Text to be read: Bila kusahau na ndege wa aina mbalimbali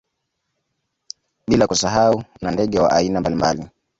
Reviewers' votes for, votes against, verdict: 2, 0, accepted